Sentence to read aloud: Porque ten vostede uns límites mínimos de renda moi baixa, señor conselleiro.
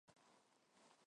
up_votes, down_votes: 0, 4